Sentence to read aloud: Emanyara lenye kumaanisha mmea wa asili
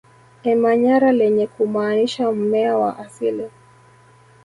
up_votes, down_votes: 1, 2